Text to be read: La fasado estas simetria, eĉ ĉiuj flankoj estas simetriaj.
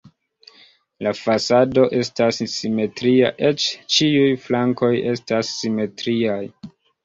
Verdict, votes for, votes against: accepted, 2, 0